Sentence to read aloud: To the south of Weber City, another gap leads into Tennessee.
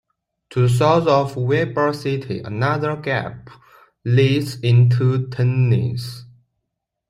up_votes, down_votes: 0, 3